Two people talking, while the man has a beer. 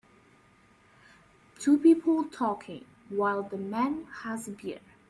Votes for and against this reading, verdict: 2, 0, accepted